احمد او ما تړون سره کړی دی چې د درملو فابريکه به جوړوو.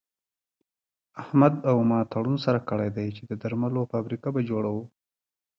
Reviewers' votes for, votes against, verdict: 1, 2, rejected